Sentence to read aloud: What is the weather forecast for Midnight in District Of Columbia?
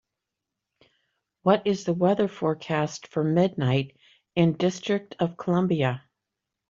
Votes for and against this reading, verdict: 2, 0, accepted